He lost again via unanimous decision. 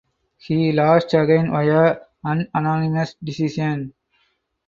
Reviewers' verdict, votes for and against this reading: rejected, 0, 4